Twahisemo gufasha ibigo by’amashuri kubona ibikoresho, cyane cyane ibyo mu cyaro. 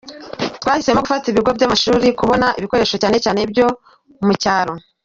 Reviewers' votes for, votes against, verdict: 2, 0, accepted